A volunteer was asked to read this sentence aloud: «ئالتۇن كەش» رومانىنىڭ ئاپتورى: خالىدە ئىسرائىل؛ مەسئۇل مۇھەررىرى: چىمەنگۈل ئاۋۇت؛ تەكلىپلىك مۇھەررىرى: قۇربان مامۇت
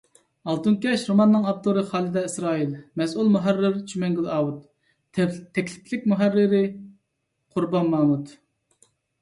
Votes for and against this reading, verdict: 1, 2, rejected